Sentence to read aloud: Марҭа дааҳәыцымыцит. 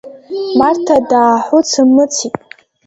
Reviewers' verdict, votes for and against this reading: rejected, 0, 2